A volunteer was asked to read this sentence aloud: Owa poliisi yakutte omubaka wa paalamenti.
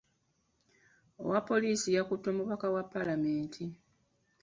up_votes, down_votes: 2, 1